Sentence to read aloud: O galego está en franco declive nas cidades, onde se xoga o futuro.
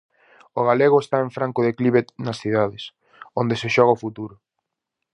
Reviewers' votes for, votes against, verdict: 4, 0, accepted